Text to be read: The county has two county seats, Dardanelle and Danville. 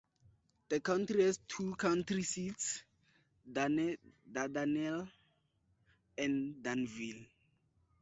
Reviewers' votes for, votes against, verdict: 0, 4, rejected